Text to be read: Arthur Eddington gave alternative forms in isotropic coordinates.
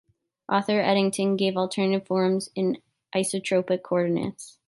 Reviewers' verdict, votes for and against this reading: rejected, 1, 2